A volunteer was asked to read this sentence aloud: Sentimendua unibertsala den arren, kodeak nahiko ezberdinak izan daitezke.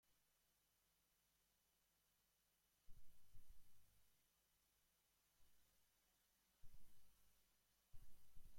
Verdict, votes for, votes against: rejected, 0, 2